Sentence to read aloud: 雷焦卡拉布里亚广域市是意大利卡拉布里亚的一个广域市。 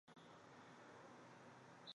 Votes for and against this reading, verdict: 0, 2, rejected